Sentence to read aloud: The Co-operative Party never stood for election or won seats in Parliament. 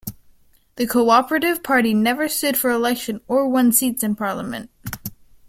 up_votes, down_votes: 3, 0